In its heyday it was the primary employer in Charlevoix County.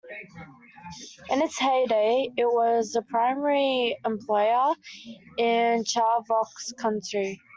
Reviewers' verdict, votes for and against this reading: rejected, 0, 3